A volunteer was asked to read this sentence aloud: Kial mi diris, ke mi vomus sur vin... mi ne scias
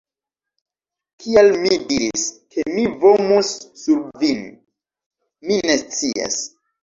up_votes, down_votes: 2, 0